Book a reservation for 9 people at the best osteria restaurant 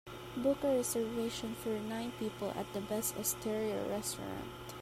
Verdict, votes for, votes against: rejected, 0, 2